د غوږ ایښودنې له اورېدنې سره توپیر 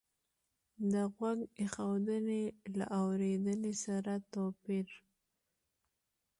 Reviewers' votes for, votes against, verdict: 2, 0, accepted